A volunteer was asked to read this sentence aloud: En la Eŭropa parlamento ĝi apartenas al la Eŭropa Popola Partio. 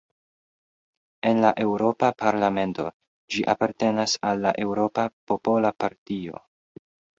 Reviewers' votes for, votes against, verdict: 2, 0, accepted